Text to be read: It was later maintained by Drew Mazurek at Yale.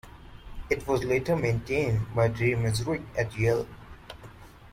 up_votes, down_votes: 2, 0